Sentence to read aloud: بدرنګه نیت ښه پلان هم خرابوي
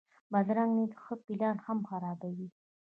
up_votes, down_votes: 0, 2